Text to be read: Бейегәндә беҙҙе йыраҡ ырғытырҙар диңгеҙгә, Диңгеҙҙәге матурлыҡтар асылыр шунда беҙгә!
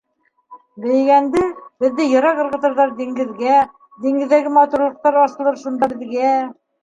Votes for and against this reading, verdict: 1, 2, rejected